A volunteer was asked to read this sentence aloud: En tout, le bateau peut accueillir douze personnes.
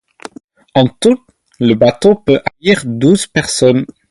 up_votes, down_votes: 4, 0